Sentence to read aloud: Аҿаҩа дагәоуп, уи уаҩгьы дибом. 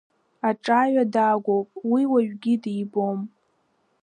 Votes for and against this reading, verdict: 2, 0, accepted